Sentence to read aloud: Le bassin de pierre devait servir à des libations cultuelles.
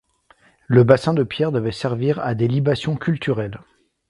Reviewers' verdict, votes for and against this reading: rejected, 0, 2